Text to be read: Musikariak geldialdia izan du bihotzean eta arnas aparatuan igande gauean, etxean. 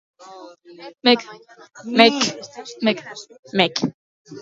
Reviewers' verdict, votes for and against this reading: rejected, 0, 2